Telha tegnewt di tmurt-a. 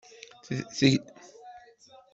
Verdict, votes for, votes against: rejected, 0, 2